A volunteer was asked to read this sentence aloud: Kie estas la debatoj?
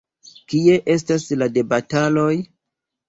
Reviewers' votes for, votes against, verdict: 1, 3, rejected